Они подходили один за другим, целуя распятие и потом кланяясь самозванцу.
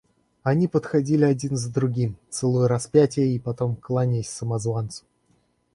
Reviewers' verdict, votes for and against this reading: accepted, 2, 1